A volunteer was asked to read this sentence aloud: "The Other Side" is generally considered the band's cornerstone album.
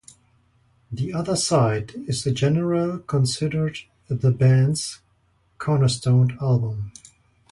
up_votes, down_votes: 0, 2